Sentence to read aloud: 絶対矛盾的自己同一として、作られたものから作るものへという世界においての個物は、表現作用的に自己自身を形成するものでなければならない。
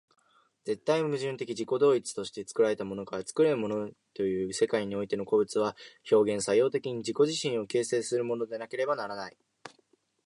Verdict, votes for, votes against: accepted, 2, 1